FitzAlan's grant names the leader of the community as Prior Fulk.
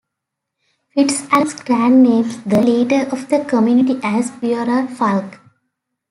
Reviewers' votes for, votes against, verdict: 2, 1, accepted